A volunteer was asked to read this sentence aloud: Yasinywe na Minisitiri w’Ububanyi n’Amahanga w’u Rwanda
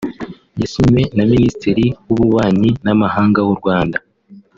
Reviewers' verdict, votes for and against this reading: rejected, 1, 3